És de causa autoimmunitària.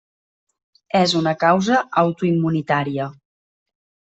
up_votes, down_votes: 0, 2